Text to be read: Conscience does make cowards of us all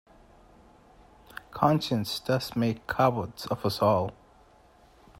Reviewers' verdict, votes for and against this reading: accepted, 2, 0